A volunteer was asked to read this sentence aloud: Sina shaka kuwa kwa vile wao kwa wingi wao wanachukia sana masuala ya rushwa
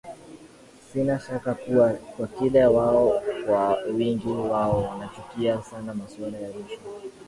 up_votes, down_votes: 0, 2